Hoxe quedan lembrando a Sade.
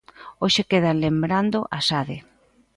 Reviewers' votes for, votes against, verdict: 2, 0, accepted